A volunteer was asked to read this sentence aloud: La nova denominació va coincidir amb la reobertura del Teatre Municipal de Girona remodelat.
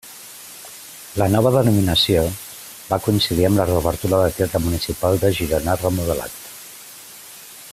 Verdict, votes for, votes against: accepted, 2, 0